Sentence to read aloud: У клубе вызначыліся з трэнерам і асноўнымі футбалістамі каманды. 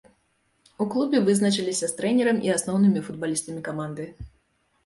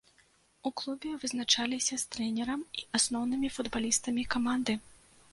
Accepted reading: first